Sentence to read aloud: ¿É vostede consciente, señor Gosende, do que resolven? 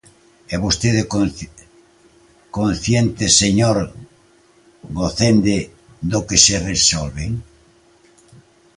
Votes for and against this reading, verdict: 0, 2, rejected